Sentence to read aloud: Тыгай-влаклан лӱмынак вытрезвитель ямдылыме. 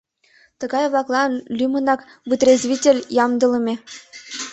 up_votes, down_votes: 2, 0